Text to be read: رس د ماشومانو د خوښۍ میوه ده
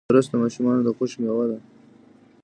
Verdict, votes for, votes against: accepted, 2, 0